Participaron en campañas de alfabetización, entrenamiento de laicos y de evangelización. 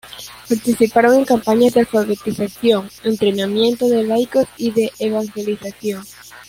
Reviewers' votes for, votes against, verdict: 1, 2, rejected